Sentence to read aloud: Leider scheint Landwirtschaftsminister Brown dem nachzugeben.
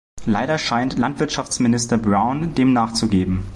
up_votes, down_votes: 2, 0